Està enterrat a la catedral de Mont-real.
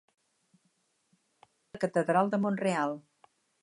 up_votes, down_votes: 0, 2